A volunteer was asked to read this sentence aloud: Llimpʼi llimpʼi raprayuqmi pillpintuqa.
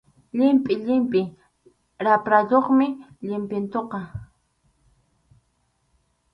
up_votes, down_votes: 0, 2